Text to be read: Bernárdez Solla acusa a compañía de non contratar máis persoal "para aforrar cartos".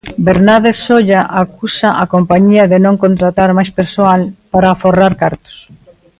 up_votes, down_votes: 2, 1